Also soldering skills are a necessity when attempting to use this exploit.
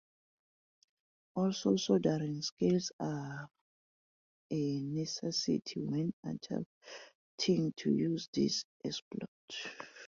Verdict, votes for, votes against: rejected, 0, 2